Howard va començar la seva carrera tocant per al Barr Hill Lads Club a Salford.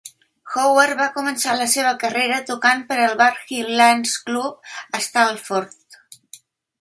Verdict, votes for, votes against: rejected, 0, 2